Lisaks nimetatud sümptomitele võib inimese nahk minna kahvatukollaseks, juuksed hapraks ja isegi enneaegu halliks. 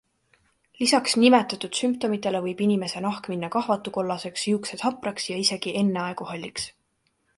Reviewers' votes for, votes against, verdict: 2, 0, accepted